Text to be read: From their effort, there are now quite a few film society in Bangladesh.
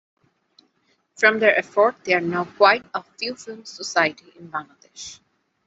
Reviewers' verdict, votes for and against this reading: accepted, 2, 0